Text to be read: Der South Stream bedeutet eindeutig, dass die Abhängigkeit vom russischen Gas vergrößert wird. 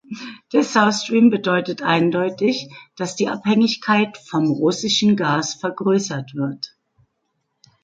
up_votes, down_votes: 2, 0